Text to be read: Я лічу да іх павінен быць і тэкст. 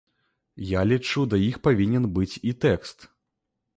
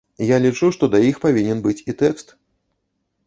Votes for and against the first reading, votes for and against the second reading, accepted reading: 2, 0, 1, 2, first